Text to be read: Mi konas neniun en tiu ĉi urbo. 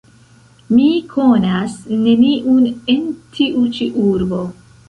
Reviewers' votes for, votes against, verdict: 2, 1, accepted